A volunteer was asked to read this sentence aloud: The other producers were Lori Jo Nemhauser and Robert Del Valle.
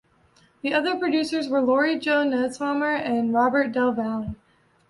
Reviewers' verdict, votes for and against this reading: rejected, 1, 2